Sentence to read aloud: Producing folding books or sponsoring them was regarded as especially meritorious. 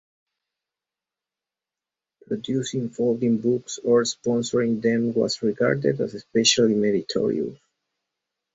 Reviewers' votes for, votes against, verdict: 2, 2, rejected